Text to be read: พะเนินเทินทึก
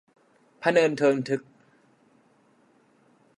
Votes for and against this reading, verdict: 2, 0, accepted